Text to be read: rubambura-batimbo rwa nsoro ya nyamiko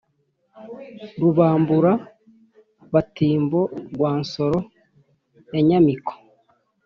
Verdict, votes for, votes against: accepted, 3, 0